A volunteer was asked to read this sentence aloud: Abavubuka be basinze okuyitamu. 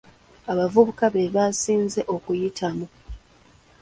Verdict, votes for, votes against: rejected, 0, 2